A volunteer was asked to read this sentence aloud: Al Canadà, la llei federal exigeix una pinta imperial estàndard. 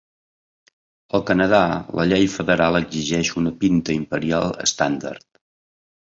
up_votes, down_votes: 3, 0